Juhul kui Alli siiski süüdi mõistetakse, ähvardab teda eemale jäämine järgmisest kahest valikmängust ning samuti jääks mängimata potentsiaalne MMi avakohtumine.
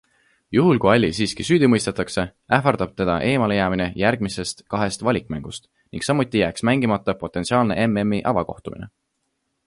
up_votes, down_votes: 2, 0